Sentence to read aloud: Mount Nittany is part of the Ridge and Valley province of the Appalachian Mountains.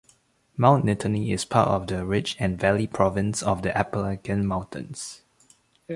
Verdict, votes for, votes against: rejected, 1, 2